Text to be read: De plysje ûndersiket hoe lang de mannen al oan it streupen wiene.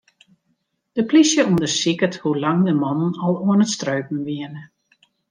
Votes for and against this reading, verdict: 2, 0, accepted